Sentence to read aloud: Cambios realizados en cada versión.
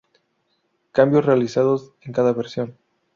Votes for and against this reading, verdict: 0, 2, rejected